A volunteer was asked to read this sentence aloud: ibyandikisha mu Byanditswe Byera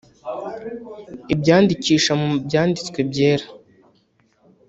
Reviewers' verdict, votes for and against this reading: rejected, 1, 2